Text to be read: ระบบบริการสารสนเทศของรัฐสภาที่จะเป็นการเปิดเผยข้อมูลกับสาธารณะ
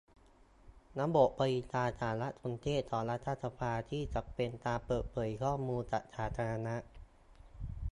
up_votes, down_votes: 2, 0